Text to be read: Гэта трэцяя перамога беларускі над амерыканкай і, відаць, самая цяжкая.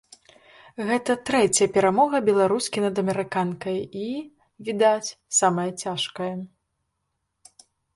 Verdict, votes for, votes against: accepted, 2, 0